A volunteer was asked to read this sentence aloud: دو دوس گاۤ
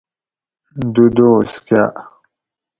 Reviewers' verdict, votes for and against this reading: accepted, 4, 0